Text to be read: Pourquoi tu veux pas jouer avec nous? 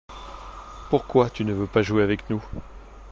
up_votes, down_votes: 1, 2